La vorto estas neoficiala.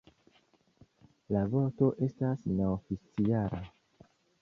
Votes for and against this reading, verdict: 2, 1, accepted